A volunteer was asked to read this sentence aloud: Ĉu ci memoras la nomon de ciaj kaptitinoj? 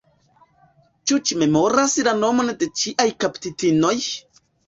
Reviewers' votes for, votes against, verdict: 1, 2, rejected